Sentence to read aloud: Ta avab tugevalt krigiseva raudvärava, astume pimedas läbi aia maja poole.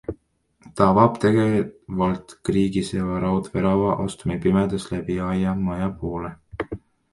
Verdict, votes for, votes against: rejected, 0, 2